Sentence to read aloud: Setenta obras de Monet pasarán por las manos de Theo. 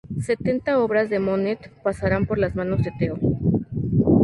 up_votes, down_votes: 2, 0